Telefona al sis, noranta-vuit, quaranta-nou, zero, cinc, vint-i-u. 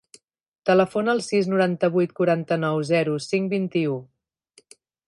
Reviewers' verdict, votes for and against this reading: accepted, 5, 0